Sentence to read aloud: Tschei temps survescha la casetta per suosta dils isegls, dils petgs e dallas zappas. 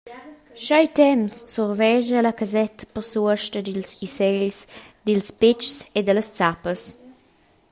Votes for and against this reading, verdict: 2, 1, accepted